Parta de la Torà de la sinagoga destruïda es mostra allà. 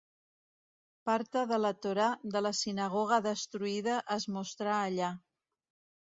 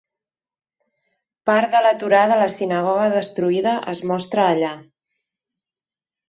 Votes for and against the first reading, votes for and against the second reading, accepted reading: 2, 0, 1, 2, first